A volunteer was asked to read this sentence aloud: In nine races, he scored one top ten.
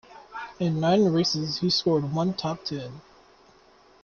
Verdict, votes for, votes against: accepted, 2, 1